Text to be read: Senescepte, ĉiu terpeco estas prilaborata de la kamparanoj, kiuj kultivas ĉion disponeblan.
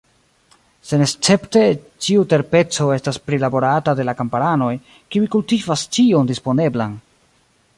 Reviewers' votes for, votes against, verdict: 2, 0, accepted